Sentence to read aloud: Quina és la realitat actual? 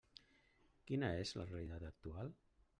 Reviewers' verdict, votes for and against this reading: rejected, 0, 2